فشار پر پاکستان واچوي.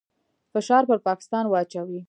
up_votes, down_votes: 0, 2